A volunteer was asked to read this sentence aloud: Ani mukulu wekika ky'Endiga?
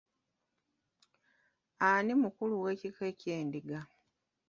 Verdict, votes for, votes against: rejected, 0, 2